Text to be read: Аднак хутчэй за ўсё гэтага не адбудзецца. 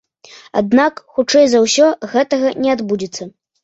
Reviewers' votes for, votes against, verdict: 2, 0, accepted